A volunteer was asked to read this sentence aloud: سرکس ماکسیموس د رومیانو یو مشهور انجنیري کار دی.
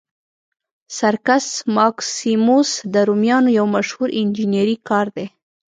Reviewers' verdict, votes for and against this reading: accepted, 2, 0